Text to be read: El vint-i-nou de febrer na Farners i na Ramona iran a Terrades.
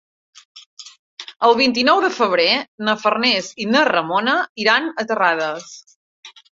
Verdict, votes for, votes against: accepted, 3, 0